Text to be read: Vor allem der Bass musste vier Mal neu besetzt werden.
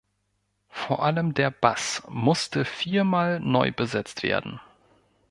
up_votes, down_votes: 4, 0